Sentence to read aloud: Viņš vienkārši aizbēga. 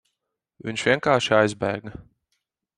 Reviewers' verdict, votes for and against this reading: accepted, 4, 2